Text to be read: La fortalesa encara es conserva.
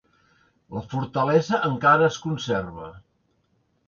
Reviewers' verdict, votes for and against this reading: accepted, 2, 0